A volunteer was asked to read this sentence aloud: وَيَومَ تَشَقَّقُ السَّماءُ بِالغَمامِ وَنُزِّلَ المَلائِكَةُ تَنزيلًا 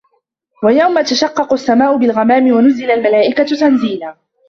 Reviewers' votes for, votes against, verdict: 0, 2, rejected